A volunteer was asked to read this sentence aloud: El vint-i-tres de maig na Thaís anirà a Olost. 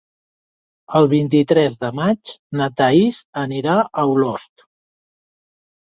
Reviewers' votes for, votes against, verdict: 2, 0, accepted